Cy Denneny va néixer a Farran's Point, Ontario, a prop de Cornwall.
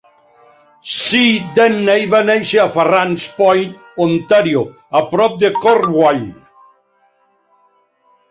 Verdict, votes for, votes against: rejected, 2, 3